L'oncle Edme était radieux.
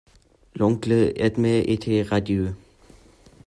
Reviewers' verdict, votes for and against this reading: rejected, 1, 2